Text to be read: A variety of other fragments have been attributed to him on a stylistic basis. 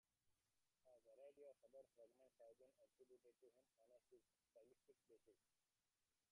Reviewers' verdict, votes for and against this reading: rejected, 0, 2